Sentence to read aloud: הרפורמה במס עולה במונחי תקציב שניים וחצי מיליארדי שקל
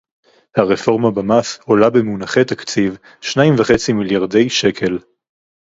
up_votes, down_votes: 2, 0